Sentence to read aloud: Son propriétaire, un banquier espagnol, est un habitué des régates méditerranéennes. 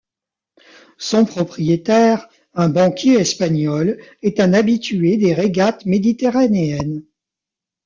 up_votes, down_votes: 2, 1